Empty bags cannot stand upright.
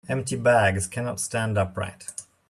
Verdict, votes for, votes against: accepted, 2, 0